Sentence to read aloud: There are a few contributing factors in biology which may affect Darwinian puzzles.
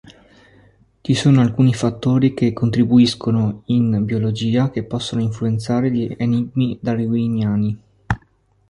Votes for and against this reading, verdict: 1, 2, rejected